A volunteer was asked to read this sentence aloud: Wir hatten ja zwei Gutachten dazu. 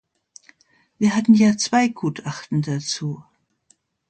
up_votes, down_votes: 2, 0